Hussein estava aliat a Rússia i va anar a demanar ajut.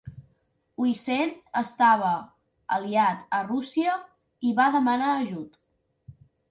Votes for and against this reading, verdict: 0, 2, rejected